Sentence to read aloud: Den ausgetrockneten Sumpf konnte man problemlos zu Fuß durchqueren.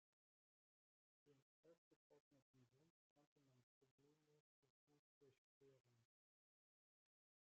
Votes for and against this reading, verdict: 0, 2, rejected